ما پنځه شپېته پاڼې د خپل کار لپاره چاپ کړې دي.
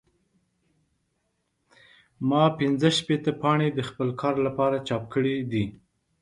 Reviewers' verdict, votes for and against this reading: accepted, 3, 0